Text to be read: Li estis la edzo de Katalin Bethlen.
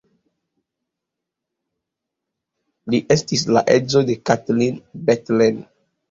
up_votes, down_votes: 2, 0